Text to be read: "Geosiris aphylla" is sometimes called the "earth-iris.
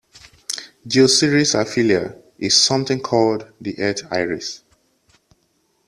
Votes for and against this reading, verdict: 0, 2, rejected